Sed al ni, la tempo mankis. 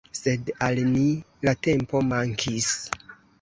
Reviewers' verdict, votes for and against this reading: accepted, 2, 1